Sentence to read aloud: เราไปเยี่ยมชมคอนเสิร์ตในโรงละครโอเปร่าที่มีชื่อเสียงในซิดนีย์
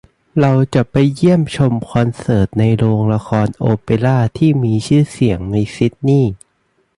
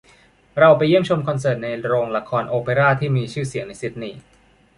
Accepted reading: second